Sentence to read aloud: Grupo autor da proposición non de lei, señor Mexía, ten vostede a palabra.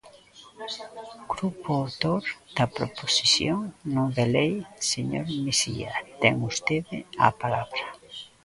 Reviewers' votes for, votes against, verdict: 0, 2, rejected